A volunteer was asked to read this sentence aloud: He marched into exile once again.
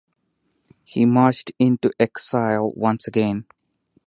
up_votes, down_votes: 4, 0